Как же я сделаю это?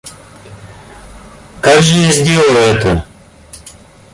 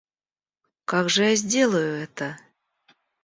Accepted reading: second